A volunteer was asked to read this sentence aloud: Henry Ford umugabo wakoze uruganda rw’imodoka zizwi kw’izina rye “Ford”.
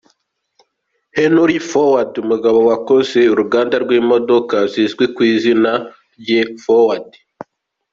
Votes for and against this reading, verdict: 2, 1, accepted